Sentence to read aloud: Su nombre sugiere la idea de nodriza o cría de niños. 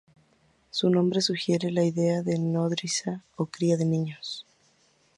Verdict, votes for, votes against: accepted, 4, 0